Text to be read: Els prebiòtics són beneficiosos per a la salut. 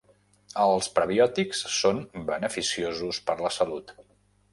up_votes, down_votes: 1, 2